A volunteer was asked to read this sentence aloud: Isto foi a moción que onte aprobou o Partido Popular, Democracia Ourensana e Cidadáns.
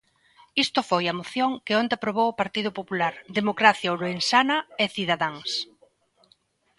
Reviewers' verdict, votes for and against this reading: accepted, 2, 1